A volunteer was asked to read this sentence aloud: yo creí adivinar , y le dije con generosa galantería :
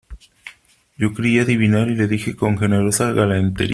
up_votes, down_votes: 0, 2